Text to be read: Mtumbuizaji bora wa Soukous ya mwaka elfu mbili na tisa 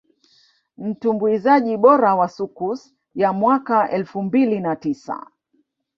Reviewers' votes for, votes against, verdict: 1, 2, rejected